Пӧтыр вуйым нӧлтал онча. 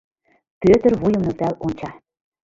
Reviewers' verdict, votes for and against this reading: accepted, 2, 1